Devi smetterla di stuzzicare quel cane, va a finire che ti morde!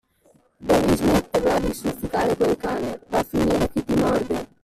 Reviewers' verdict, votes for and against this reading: rejected, 1, 2